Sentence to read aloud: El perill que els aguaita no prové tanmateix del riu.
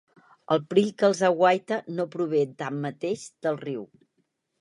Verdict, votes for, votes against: accepted, 2, 0